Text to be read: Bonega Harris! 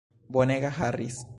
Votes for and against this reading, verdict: 2, 0, accepted